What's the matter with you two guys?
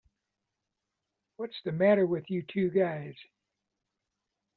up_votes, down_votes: 2, 0